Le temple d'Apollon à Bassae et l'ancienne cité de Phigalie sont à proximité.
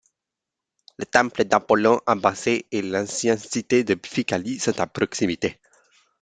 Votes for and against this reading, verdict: 2, 1, accepted